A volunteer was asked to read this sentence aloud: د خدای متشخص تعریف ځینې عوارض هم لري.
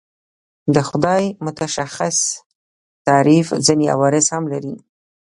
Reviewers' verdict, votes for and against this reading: rejected, 1, 2